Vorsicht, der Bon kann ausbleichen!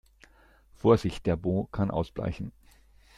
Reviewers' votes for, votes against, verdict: 1, 2, rejected